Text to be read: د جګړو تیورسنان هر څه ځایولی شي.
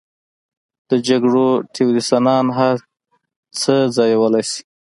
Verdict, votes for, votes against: accepted, 2, 0